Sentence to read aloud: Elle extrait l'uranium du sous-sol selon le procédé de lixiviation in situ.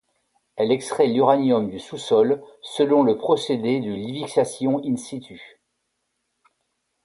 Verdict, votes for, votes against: accepted, 2, 0